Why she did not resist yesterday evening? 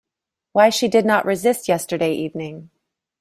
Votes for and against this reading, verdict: 2, 0, accepted